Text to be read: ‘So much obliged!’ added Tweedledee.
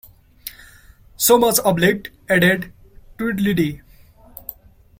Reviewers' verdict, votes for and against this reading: rejected, 0, 2